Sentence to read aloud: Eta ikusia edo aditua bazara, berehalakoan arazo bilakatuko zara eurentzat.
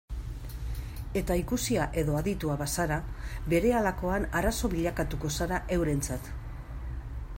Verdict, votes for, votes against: accepted, 2, 0